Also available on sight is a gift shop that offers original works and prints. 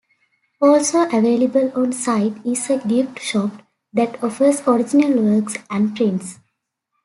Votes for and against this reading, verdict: 2, 0, accepted